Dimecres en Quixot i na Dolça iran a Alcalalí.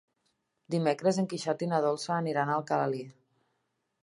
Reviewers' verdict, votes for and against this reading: rejected, 0, 2